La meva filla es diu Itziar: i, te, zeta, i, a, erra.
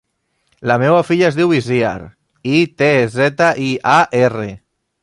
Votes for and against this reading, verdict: 0, 2, rejected